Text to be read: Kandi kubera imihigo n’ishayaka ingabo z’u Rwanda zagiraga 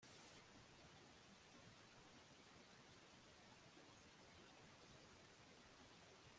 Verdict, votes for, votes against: rejected, 0, 2